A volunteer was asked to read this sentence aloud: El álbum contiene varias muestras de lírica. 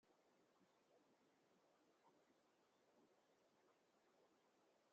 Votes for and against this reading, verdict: 0, 3, rejected